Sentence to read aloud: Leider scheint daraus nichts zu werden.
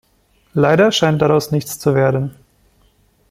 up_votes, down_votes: 2, 0